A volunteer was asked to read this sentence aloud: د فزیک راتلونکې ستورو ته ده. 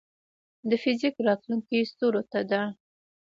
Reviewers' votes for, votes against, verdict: 0, 2, rejected